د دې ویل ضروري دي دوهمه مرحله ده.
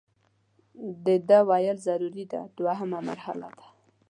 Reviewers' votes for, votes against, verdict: 2, 0, accepted